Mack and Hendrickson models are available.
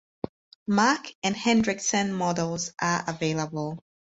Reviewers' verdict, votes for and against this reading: accepted, 6, 0